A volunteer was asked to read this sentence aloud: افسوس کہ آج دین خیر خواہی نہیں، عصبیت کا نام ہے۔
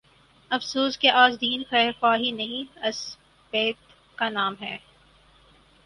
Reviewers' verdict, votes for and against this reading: accepted, 10, 6